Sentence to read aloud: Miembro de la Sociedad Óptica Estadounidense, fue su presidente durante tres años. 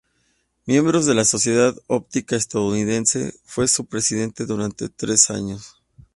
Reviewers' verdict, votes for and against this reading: accepted, 4, 0